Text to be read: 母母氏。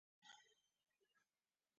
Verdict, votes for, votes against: rejected, 0, 2